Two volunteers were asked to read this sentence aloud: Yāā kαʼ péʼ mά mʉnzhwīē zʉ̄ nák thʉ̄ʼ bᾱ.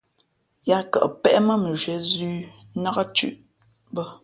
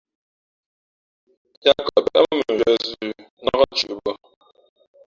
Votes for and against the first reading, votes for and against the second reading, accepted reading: 2, 0, 1, 2, first